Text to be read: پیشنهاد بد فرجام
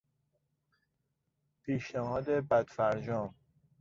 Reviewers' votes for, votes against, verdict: 2, 0, accepted